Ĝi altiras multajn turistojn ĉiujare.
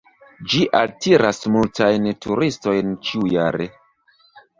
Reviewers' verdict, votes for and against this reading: rejected, 1, 2